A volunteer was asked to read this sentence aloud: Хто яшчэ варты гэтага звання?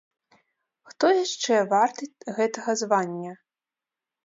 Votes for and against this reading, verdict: 0, 2, rejected